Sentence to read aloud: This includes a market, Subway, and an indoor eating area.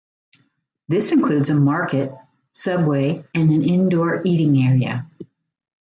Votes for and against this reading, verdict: 2, 0, accepted